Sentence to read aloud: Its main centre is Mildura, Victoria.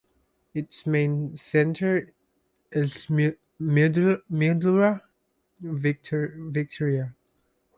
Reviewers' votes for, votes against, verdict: 1, 2, rejected